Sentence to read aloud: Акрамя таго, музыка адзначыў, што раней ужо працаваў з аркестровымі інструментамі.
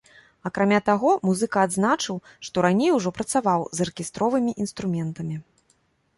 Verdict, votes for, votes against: accepted, 2, 0